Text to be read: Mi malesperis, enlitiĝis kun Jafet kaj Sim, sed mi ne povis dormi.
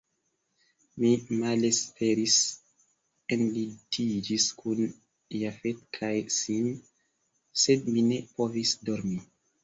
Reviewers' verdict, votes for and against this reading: accepted, 2, 0